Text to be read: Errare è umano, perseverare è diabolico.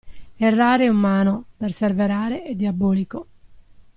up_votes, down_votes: 1, 2